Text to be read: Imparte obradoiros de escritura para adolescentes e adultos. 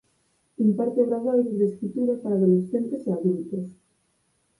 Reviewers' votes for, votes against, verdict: 2, 4, rejected